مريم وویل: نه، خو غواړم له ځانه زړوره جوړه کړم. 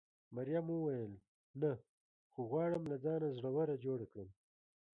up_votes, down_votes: 0, 2